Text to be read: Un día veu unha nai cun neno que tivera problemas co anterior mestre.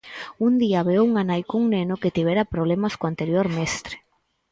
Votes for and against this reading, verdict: 4, 0, accepted